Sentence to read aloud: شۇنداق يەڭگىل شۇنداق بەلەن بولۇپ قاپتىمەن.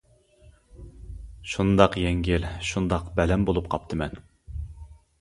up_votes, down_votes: 2, 0